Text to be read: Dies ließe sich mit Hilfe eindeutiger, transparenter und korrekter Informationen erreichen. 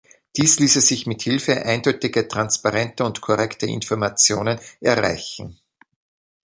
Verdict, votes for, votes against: accepted, 2, 1